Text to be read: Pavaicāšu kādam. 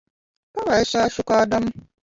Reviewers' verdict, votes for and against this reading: rejected, 1, 2